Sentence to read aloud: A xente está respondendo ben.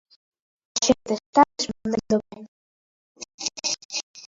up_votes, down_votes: 0, 2